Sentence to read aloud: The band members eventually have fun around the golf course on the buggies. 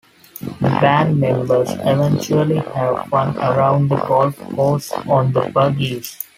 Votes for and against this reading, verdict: 0, 2, rejected